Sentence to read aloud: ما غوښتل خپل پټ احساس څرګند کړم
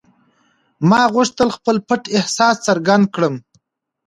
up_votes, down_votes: 1, 2